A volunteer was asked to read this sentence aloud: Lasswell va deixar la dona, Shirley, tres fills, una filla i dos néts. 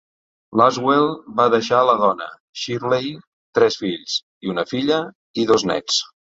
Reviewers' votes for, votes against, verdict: 1, 2, rejected